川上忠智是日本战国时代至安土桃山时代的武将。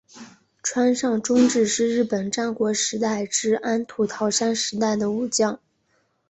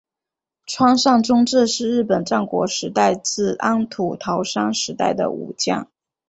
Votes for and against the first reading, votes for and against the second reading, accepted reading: 3, 0, 1, 2, first